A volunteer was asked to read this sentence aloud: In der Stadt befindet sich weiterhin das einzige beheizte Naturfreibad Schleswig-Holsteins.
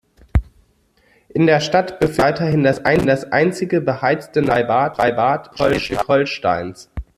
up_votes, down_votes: 0, 2